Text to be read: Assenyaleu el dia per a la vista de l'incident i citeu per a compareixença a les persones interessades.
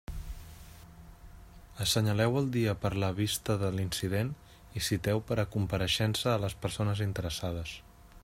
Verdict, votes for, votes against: accepted, 2, 0